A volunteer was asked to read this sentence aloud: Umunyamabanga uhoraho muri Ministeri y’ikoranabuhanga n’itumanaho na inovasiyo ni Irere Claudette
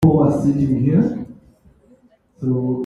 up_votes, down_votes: 0, 3